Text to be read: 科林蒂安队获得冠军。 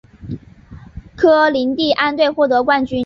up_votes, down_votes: 4, 0